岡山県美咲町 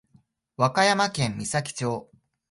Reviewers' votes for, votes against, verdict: 1, 3, rejected